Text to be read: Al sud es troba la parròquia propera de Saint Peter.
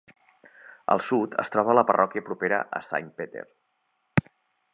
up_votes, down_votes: 1, 2